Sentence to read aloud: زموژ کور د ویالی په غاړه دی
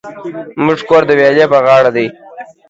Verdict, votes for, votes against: accepted, 2, 0